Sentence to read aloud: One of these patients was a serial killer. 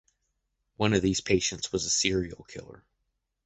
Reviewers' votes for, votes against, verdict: 2, 0, accepted